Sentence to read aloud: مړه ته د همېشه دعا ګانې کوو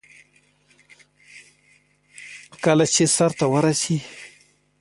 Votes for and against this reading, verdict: 1, 2, rejected